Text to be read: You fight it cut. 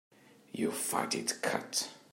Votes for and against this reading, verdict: 2, 0, accepted